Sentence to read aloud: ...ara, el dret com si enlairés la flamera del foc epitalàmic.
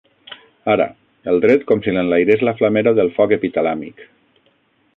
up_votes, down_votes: 3, 6